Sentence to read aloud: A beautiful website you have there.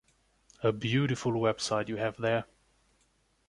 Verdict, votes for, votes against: accepted, 2, 0